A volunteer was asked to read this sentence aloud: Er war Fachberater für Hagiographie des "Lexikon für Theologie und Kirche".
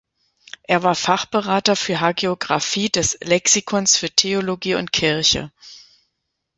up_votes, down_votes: 0, 2